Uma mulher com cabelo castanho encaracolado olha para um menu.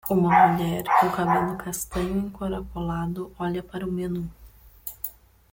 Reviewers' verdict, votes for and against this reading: rejected, 1, 2